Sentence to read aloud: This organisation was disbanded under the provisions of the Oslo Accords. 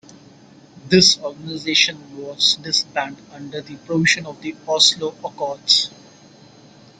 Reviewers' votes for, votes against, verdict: 0, 2, rejected